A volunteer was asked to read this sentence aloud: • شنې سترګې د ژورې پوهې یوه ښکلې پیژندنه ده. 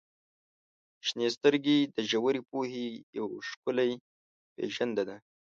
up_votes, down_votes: 0, 2